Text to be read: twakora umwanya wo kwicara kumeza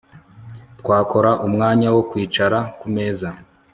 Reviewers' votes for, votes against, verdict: 3, 0, accepted